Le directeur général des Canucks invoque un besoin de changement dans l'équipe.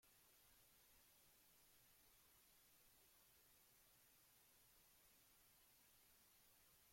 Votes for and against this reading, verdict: 0, 2, rejected